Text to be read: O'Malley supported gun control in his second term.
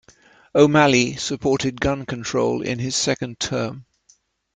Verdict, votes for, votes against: accepted, 3, 0